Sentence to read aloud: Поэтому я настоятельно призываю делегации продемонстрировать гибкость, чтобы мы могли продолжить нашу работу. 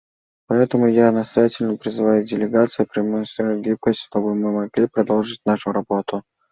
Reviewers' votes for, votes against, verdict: 2, 1, accepted